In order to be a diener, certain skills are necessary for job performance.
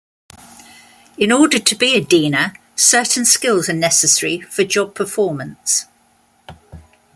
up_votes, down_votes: 2, 0